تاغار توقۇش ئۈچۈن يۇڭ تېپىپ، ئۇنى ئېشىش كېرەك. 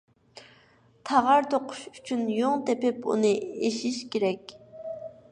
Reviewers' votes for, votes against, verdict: 0, 2, rejected